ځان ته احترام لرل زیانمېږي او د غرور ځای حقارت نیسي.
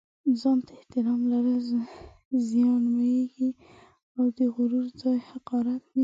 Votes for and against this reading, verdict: 0, 2, rejected